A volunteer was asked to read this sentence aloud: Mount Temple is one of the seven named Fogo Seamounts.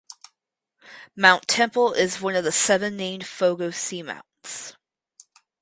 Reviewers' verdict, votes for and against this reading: accepted, 4, 0